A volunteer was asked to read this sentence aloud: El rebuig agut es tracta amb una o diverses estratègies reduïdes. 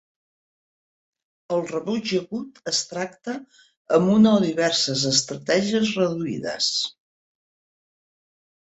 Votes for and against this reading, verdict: 2, 0, accepted